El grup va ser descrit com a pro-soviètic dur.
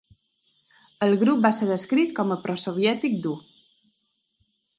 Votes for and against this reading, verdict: 2, 0, accepted